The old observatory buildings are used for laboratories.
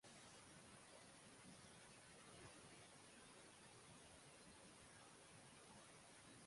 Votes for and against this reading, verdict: 0, 6, rejected